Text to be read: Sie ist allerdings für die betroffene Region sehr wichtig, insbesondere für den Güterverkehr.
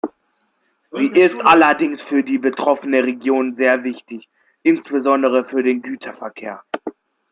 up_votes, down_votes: 2, 0